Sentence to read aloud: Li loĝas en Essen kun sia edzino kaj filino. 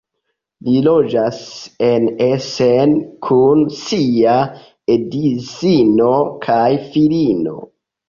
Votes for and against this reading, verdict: 2, 0, accepted